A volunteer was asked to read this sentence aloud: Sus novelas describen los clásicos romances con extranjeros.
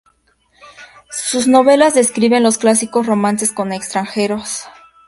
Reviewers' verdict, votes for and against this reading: accepted, 2, 0